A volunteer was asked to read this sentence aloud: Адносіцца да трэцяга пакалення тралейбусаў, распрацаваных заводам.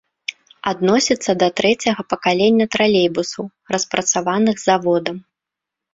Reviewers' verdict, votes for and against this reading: accepted, 2, 0